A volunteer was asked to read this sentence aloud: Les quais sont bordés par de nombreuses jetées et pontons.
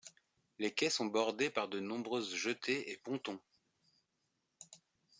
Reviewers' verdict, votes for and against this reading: accepted, 2, 0